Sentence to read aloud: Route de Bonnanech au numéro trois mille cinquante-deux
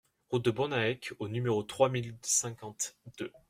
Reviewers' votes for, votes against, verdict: 1, 2, rejected